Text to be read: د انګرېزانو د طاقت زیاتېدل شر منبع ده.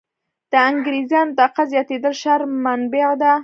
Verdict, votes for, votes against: rejected, 1, 2